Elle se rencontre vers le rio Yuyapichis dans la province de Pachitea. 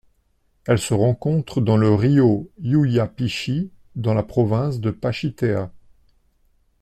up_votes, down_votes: 1, 2